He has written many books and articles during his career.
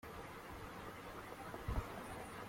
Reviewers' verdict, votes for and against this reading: rejected, 0, 2